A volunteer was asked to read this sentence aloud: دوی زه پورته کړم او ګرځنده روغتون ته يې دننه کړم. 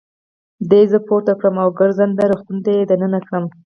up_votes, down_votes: 4, 0